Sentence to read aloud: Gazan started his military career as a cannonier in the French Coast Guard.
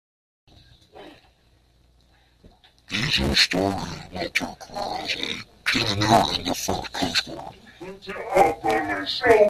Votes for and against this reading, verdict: 0, 2, rejected